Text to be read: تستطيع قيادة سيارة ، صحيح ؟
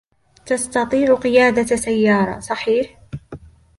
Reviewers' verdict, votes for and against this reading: accepted, 2, 1